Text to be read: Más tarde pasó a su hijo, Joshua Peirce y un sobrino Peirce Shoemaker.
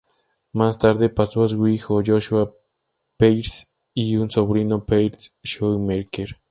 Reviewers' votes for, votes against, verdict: 2, 0, accepted